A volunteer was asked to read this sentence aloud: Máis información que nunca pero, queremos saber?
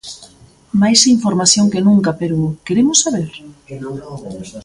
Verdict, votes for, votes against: rejected, 0, 2